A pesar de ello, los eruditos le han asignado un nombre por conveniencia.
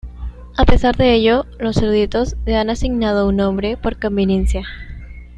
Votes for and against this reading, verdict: 1, 2, rejected